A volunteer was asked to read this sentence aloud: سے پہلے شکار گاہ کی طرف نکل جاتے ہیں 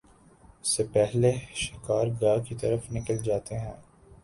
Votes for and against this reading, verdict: 3, 0, accepted